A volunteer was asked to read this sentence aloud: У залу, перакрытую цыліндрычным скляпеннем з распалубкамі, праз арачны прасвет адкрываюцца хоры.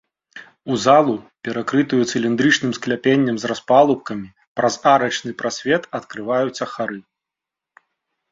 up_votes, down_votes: 1, 3